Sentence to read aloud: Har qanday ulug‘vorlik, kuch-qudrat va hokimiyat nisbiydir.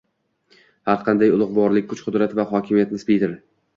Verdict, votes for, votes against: accepted, 2, 1